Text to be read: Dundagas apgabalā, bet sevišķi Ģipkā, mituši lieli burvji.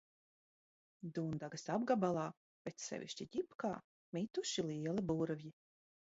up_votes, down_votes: 2, 0